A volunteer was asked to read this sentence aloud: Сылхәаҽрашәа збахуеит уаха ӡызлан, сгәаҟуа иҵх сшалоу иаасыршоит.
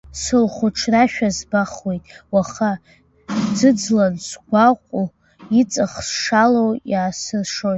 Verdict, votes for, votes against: rejected, 0, 2